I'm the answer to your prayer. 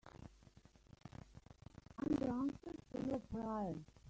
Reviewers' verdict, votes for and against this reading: rejected, 0, 2